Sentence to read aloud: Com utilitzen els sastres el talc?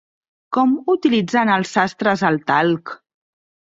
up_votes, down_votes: 2, 0